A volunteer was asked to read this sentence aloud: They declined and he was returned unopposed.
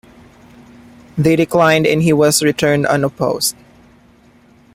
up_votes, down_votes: 2, 1